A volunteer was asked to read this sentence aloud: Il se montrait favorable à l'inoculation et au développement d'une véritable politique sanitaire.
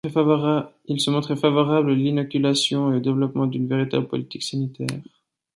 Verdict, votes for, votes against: rejected, 0, 2